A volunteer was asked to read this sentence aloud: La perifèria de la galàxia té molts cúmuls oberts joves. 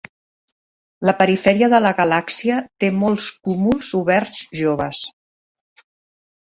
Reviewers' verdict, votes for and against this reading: accepted, 2, 0